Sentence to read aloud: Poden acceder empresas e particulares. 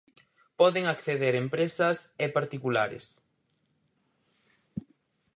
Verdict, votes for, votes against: accepted, 4, 2